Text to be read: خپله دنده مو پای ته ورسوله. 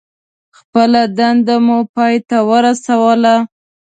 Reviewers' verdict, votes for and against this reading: accepted, 2, 0